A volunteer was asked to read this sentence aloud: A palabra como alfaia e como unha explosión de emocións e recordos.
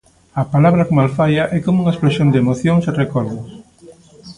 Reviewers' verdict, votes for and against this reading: accepted, 2, 0